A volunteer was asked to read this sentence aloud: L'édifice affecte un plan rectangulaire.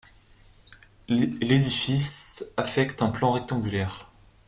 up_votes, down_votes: 0, 2